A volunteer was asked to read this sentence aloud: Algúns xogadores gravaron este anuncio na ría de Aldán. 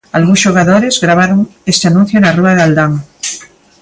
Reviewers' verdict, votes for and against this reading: rejected, 0, 2